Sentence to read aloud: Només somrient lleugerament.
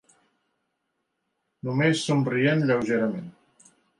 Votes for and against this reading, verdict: 3, 0, accepted